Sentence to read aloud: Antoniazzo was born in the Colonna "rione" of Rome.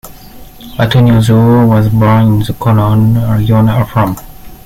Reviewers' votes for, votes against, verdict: 1, 2, rejected